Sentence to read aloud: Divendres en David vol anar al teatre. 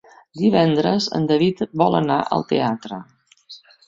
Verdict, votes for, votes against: rejected, 1, 2